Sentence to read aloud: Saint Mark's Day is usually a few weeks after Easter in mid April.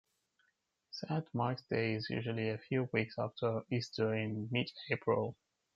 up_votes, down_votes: 1, 2